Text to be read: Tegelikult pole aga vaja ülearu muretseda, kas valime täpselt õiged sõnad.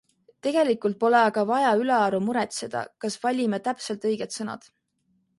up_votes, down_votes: 2, 0